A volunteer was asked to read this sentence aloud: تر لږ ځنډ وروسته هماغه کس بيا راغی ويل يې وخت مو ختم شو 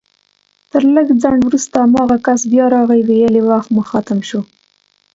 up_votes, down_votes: 2, 0